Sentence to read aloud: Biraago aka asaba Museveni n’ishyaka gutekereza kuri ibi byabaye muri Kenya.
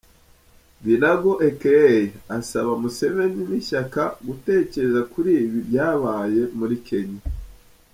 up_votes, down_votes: 0, 2